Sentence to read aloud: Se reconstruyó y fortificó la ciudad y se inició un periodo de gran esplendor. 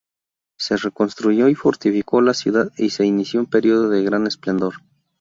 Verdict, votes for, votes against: accepted, 4, 0